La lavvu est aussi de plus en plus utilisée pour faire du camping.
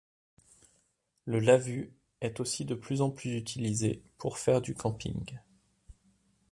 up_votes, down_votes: 1, 2